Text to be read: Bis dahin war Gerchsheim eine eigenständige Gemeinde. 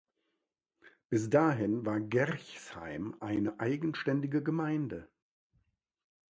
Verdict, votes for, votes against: accepted, 2, 0